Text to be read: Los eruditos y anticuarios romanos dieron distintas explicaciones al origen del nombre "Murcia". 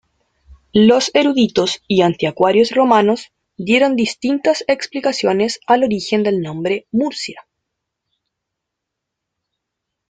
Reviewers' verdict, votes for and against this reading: rejected, 1, 2